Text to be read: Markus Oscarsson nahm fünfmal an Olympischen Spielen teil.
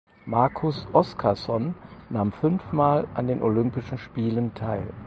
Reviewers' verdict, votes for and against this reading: rejected, 2, 4